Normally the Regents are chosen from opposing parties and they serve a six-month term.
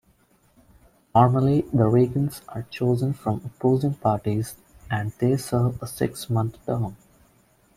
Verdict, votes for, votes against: accepted, 2, 0